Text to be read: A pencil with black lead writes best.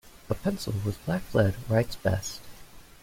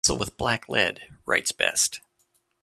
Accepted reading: first